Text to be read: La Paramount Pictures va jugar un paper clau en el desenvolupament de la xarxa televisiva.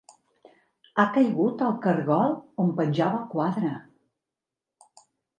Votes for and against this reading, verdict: 1, 2, rejected